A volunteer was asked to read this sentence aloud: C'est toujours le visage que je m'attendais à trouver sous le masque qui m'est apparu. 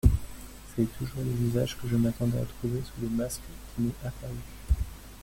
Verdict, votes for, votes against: rejected, 1, 2